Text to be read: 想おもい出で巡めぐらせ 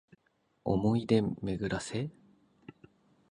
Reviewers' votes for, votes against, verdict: 2, 2, rejected